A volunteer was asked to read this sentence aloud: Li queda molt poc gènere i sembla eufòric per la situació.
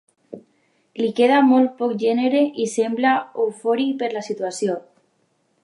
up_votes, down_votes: 3, 0